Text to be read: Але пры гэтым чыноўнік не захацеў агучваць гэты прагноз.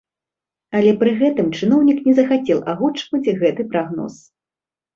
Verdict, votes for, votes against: accepted, 2, 0